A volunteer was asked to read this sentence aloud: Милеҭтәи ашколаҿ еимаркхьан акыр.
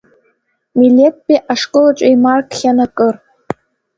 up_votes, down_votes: 2, 1